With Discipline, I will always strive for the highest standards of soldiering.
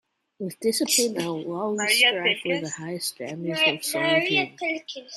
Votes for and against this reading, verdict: 0, 2, rejected